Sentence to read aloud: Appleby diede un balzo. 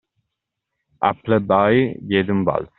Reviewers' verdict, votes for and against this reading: accepted, 2, 1